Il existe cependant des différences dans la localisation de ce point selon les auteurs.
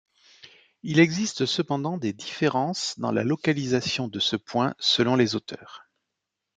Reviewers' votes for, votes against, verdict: 2, 0, accepted